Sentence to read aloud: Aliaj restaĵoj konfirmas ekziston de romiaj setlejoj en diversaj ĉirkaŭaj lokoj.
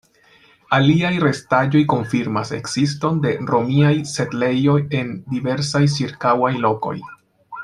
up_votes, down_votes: 1, 2